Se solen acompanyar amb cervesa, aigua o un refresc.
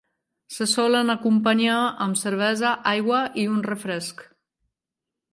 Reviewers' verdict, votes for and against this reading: accepted, 2, 0